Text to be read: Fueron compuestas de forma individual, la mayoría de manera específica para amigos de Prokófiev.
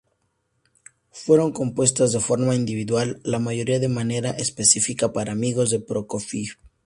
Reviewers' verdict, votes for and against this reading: accepted, 2, 0